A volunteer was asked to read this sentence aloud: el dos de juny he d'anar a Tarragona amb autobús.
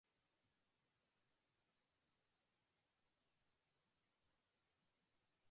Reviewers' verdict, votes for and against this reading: rejected, 0, 2